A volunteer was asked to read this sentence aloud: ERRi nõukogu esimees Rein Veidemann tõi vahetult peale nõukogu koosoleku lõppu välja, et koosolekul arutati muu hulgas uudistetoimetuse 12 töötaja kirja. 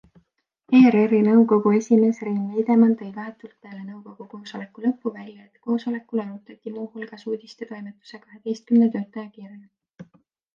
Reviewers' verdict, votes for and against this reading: rejected, 0, 2